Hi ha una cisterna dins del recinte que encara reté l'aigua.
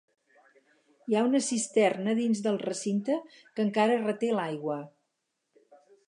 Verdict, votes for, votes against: accepted, 2, 0